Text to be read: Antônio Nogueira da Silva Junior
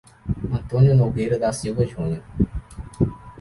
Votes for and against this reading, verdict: 2, 0, accepted